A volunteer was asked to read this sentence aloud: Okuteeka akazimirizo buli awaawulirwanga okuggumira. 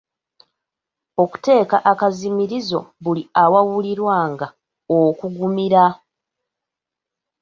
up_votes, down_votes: 1, 2